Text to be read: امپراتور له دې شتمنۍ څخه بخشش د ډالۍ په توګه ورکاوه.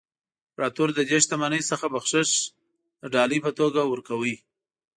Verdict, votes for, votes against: accepted, 2, 0